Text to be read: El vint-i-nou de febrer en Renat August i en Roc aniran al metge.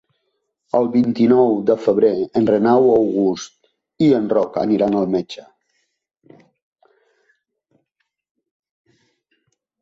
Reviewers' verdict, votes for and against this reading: rejected, 0, 2